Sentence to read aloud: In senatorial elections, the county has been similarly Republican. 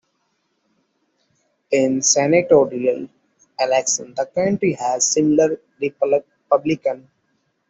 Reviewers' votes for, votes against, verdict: 0, 2, rejected